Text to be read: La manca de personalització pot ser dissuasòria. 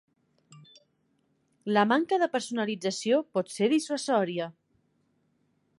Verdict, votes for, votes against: accepted, 3, 0